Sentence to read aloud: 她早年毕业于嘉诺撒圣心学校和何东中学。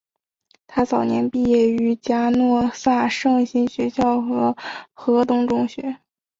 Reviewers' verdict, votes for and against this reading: accepted, 2, 0